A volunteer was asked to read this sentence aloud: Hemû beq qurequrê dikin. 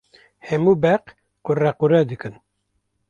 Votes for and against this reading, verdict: 0, 2, rejected